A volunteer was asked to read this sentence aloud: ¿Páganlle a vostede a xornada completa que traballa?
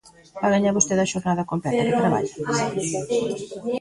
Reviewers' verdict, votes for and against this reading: rejected, 1, 2